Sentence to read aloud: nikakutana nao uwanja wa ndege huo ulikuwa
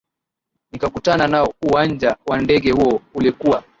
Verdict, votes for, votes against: accepted, 9, 2